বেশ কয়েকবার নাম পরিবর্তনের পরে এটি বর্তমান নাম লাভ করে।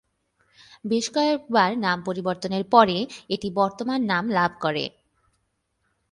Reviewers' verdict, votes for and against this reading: accepted, 54, 3